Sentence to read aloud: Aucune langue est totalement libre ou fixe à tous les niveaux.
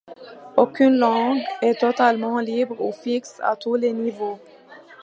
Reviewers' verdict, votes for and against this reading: accepted, 2, 1